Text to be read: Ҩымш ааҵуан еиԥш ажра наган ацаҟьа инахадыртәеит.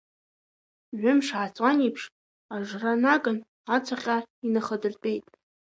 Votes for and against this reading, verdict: 0, 2, rejected